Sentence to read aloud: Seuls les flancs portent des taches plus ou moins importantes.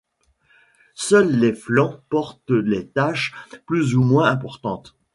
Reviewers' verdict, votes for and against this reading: accepted, 2, 0